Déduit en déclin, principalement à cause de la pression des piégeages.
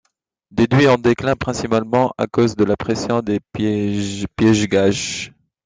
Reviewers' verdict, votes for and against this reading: rejected, 0, 2